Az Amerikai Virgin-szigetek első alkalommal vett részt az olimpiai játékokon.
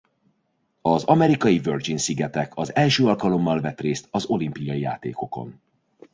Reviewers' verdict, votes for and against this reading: rejected, 0, 3